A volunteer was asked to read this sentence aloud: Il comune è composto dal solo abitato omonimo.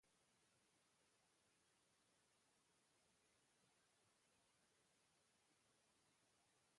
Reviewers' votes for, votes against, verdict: 0, 2, rejected